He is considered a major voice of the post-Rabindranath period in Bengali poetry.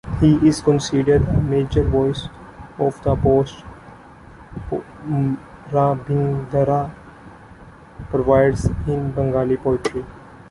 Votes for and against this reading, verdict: 0, 3, rejected